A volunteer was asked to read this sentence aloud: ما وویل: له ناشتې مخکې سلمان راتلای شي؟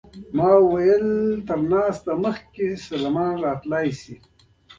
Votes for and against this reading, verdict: 2, 0, accepted